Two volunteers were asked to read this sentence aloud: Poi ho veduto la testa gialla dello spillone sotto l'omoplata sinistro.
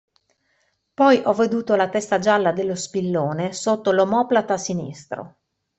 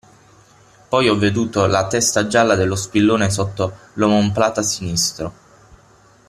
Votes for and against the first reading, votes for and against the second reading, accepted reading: 2, 0, 0, 6, first